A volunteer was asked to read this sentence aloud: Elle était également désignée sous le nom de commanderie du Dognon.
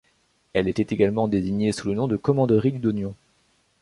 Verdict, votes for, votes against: rejected, 1, 2